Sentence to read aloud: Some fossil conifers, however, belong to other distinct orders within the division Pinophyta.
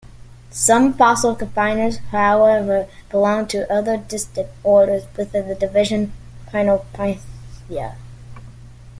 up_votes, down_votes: 0, 3